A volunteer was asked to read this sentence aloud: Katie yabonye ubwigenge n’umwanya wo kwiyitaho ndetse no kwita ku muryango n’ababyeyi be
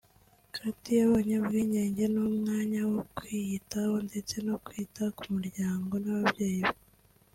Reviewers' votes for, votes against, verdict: 3, 0, accepted